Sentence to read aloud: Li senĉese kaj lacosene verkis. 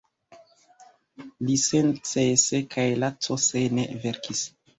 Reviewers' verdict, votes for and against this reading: rejected, 1, 2